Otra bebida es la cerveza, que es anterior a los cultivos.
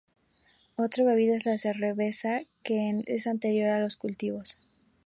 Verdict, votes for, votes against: rejected, 0, 2